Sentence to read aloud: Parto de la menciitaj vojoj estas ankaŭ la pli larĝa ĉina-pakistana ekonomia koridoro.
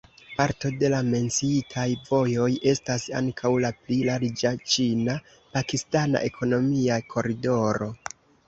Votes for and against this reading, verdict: 2, 0, accepted